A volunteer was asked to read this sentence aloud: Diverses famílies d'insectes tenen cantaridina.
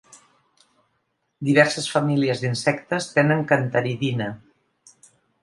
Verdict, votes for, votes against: accepted, 2, 0